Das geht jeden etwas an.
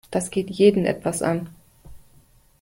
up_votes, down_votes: 2, 0